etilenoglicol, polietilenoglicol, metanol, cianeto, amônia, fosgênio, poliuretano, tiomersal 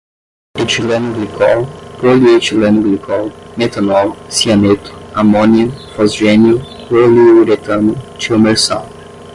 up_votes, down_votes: 5, 5